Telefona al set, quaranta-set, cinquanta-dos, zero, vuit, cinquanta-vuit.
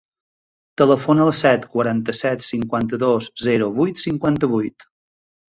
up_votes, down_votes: 3, 0